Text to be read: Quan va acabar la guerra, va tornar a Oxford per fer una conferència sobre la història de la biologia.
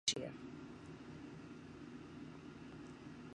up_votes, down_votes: 0, 2